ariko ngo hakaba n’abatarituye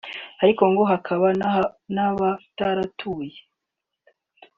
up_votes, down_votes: 1, 2